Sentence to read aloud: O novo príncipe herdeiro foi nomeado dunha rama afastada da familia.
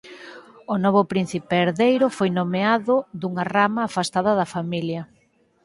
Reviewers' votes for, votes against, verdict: 2, 2, rejected